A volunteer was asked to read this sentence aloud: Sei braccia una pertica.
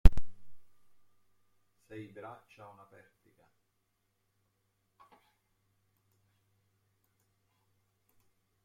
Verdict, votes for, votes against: rejected, 0, 2